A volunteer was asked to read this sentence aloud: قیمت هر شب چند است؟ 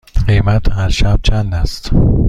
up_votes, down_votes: 2, 0